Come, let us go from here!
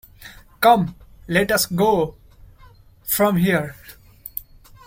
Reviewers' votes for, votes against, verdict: 2, 1, accepted